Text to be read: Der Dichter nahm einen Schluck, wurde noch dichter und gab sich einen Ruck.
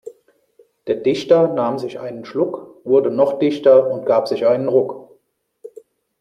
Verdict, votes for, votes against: rejected, 1, 2